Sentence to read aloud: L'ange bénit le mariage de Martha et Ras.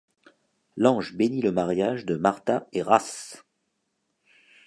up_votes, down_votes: 2, 0